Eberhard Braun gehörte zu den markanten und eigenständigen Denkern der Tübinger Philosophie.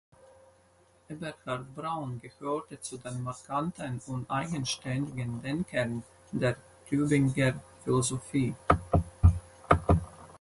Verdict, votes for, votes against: rejected, 2, 4